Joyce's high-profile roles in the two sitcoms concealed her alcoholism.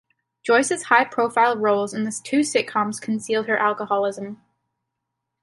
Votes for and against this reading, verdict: 2, 0, accepted